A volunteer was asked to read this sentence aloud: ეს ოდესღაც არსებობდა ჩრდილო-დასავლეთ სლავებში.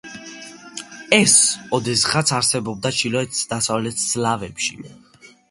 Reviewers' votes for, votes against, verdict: 0, 2, rejected